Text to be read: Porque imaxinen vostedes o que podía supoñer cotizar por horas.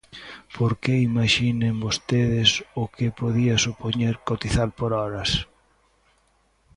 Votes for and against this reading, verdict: 2, 0, accepted